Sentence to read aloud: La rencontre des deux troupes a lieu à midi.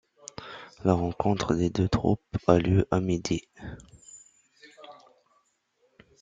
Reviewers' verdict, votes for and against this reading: accepted, 2, 0